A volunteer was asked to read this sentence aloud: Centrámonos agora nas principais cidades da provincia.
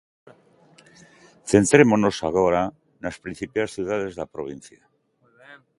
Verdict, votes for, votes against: rejected, 1, 2